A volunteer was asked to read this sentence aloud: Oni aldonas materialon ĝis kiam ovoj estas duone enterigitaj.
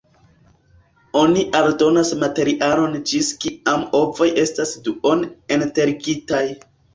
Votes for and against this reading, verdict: 2, 1, accepted